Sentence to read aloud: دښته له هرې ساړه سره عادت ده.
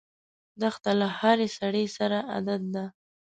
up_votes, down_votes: 2, 3